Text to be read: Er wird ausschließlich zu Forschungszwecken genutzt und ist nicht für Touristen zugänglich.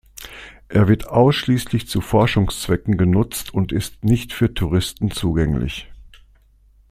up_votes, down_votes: 2, 0